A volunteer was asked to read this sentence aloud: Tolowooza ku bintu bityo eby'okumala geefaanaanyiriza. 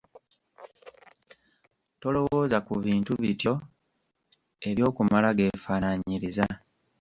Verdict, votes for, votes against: rejected, 1, 2